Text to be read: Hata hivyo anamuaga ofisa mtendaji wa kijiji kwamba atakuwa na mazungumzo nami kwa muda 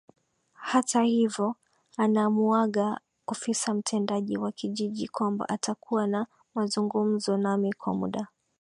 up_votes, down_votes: 2, 0